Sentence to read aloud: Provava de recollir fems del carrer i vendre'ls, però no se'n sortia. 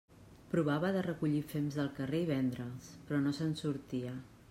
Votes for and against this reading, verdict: 3, 0, accepted